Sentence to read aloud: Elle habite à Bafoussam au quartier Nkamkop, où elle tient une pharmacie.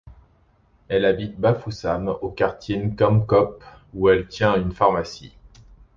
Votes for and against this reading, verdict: 0, 2, rejected